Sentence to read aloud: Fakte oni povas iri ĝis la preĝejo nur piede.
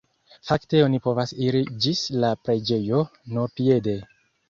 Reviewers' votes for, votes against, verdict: 1, 2, rejected